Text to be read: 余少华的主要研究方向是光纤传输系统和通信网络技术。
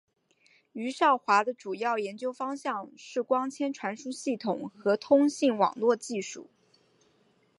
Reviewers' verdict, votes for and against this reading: accepted, 4, 0